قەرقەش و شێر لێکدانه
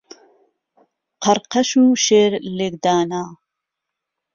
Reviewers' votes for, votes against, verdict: 2, 0, accepted